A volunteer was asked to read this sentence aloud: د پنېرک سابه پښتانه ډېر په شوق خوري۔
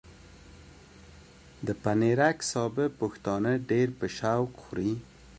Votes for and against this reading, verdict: 2, 0, accepted